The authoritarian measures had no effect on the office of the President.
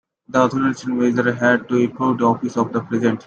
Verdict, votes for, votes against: rejected, 0, 2